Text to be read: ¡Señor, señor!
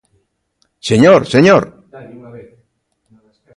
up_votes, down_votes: 0, 2